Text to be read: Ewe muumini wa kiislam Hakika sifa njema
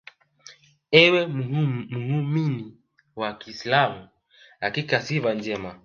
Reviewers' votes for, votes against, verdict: 3, 2, accepted